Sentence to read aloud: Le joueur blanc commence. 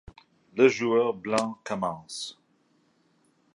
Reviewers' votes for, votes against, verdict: 2, 0, accepted